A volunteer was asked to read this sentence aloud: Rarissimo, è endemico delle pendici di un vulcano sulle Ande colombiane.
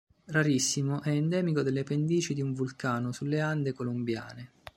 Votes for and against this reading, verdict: 2, 0, accepted